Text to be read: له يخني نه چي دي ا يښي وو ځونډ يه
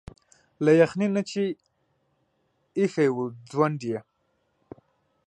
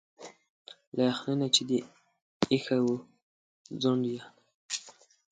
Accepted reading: second